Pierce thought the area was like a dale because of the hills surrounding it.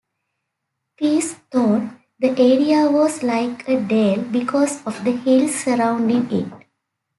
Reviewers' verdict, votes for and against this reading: accepted, 2, 1